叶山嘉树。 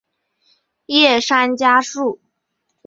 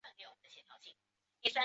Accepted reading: first